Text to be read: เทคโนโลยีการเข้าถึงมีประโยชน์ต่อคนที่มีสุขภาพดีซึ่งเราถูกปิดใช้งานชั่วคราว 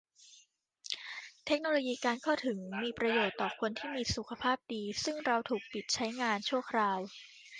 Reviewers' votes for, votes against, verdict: 0, 2, rejected